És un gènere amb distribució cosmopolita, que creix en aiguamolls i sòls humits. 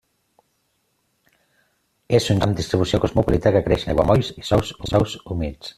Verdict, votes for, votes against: rejected, 0, 2